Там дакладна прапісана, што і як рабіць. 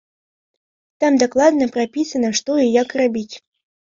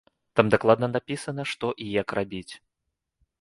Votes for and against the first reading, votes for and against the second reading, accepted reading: 2, 0, 1, 2, first